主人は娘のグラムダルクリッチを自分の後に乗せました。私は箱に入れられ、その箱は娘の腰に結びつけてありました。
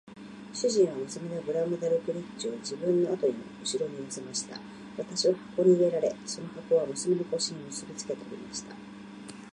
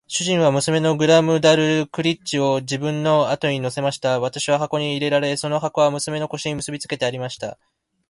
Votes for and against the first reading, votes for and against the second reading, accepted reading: 0, 2, 2, 0, second